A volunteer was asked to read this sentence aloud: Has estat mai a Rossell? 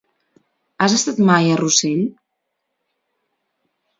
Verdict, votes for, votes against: accepted, 2, 0